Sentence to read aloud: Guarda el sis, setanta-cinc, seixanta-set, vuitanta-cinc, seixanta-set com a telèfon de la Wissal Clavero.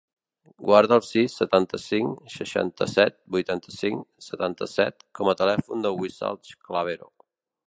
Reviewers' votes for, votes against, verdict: 0, 2, rejected